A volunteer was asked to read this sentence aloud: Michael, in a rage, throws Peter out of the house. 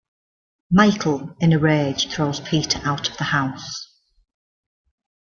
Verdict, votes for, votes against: accepted, 2, 0